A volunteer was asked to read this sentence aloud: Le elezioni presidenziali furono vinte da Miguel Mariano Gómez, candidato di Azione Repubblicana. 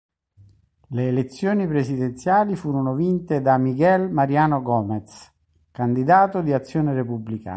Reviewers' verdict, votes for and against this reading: rejected, 1, 2